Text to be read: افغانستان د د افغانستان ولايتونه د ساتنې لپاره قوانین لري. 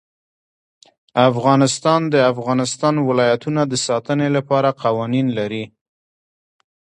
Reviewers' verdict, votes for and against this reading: rejected, 1, 2